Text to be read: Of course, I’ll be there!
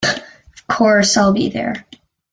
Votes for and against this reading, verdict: 2, 1, accepted